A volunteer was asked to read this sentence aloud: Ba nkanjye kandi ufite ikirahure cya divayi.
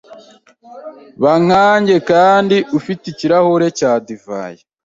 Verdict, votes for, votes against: accepted, 2, 0